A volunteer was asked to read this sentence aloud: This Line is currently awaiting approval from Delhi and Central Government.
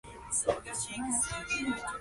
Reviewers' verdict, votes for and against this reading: rejected, 0, 2